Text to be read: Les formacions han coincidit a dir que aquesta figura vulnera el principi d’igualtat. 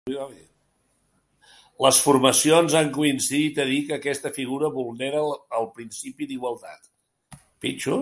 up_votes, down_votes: 0, 2